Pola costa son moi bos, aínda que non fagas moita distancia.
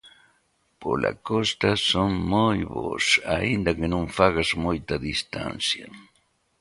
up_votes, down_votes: 2, 0